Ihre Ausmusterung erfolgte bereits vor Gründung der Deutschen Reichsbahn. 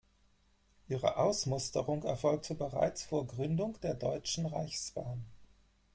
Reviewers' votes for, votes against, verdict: 2, 4, rejected